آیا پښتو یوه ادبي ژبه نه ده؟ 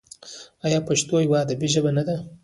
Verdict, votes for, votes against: rejected, 0, 2